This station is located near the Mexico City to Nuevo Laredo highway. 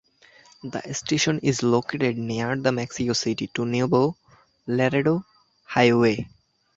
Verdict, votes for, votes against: accepted, 3, 0